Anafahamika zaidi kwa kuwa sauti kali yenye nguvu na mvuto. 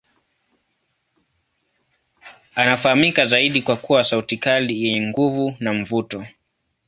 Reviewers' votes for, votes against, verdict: 2, 0, accepted